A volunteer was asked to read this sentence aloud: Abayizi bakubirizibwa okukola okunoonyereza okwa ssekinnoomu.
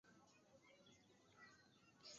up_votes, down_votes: 0, 2